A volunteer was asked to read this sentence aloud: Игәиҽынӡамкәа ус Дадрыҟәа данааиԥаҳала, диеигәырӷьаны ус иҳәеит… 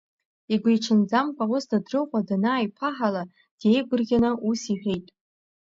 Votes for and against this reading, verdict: 1, 2, rejected